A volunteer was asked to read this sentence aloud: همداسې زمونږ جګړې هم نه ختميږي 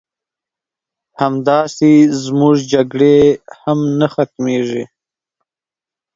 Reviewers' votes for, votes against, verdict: 8, 0, accepted